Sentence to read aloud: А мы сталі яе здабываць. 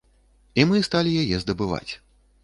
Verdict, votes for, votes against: rejected, 1, 2